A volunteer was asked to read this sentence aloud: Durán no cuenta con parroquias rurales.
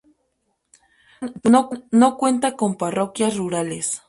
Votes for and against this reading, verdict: 0, 2, rejected